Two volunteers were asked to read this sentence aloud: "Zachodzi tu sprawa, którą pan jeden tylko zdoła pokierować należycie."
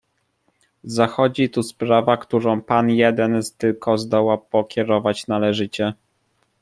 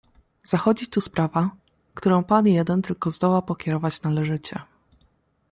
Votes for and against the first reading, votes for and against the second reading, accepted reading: 1, 2, 2, 0, second